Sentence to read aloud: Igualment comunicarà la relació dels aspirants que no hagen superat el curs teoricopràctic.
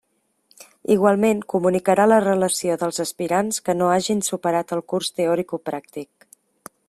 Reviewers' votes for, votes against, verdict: 1, 2, rejected